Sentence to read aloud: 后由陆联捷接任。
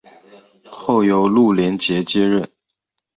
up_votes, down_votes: 2, 0